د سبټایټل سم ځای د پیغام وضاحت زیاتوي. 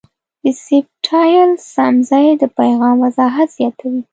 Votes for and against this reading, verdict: 0, 2, rejected